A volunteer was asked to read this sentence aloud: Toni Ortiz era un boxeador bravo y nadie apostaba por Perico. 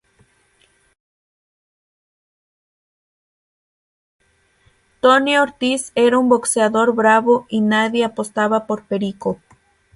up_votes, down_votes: 0, 3